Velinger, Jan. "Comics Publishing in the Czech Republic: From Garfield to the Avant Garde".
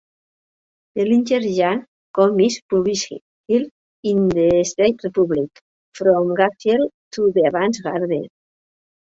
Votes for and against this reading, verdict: 0, 2, rejected